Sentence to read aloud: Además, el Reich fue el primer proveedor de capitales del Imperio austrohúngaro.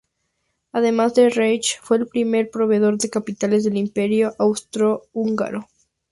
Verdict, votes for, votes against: rejected, 2, 6